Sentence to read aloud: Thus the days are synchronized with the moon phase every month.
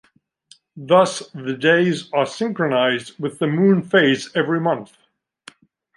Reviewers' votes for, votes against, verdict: 2, 0, accepted